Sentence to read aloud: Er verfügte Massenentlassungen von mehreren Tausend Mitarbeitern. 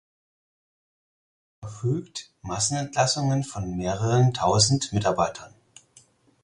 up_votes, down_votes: 0, 4